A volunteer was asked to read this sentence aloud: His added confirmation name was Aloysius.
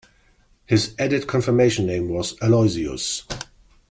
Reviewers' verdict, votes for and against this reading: accepted, 2, 0